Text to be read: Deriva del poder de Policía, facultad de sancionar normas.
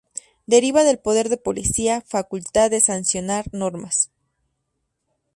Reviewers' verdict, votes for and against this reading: accepted, 2, 0